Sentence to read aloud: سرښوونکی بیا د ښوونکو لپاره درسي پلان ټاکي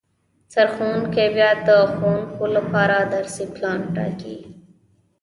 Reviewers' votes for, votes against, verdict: 2, 0, accepted